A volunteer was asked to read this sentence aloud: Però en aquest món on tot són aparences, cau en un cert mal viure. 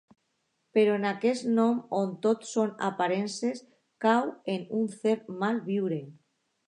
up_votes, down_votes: 0, 2